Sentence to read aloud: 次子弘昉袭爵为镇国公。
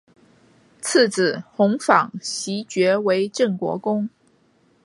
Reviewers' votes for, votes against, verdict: 2, 0, accepted